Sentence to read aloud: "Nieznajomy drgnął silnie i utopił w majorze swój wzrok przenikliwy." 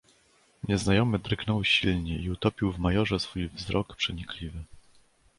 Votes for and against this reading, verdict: 2, 0, accepted